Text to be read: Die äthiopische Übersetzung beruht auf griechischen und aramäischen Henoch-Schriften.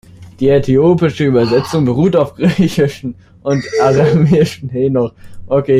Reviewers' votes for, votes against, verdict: 0, 3, rejected